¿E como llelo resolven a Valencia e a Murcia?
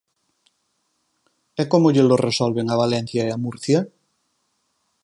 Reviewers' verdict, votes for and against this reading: accepted, 4, 2